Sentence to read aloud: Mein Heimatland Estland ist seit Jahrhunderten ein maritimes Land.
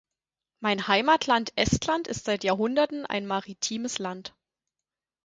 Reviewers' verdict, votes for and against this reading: accepted, 4, 0